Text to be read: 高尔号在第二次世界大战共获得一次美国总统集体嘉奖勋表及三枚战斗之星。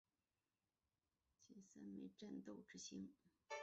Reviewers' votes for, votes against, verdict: 1, 2, rejected